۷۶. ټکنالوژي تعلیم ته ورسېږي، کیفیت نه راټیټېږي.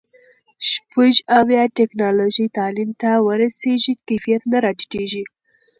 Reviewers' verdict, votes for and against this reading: rejected, 0, 2